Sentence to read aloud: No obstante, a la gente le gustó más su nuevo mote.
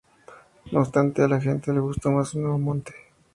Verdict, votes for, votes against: rejected, 2, 2